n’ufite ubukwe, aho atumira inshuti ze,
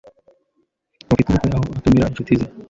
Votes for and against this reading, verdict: 0, 3, rejected